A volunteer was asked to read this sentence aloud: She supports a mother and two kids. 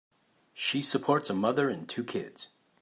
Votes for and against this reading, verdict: 3, 0, accepted